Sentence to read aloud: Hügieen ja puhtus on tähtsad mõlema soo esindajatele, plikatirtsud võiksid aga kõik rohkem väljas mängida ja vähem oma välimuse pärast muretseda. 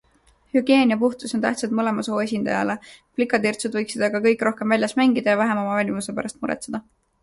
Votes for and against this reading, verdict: 0, 2, rejected